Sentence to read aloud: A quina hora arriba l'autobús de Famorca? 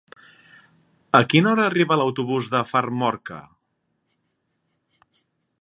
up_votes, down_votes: 1, 2